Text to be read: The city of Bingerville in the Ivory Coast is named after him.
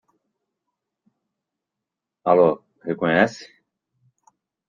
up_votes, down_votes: 0, 2